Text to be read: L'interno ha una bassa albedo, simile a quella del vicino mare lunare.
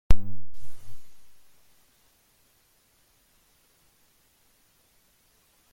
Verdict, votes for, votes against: rejected, 0, 2